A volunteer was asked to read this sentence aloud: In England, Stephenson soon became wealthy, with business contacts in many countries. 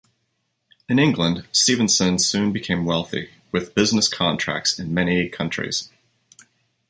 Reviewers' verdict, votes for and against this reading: accepted, 2, 1